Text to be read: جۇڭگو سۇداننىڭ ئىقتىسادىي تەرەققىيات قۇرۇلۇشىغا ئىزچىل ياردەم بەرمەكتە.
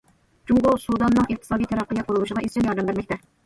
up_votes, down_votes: 1, 2